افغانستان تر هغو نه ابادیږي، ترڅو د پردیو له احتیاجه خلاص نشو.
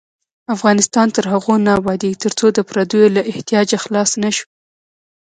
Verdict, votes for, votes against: accepted, 2, 0